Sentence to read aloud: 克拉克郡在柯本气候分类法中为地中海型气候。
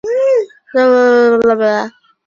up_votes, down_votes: 0, 2